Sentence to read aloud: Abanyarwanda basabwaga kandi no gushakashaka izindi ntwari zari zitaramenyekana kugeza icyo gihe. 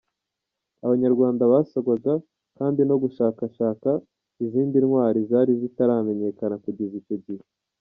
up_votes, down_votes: 1, 2